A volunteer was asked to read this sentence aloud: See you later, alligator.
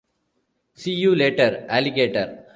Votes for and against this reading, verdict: 1, 2, rejected